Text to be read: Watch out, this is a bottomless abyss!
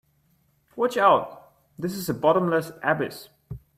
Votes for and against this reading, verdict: 2, 0, accepted